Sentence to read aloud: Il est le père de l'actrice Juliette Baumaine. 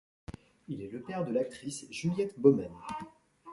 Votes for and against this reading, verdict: 2, 1, accepted